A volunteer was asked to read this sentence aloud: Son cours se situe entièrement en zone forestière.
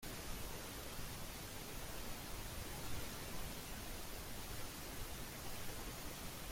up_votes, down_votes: 0, 2